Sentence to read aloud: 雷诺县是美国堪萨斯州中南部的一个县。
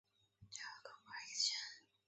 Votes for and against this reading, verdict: 0, 2, rejected